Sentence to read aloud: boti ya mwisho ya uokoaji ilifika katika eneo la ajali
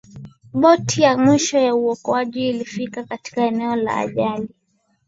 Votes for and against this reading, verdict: 2, 0, accepted